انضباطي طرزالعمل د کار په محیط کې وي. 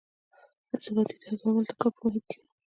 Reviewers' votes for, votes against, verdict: 0, 2, rejected